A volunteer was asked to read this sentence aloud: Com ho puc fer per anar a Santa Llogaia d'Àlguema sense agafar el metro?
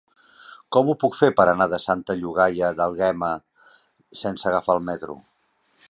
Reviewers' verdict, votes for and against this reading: rejected, 1, 2